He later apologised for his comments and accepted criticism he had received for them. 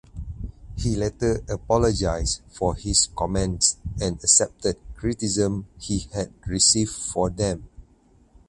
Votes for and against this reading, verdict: 4, 0, accepted